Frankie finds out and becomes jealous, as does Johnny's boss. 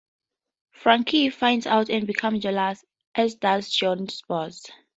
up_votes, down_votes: 2, 0